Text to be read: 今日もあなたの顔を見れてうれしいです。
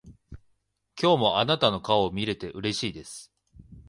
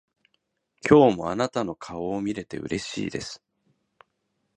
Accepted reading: second